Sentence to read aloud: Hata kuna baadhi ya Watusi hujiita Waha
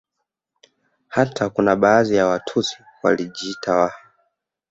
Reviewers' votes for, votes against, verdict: 1, 2, rejected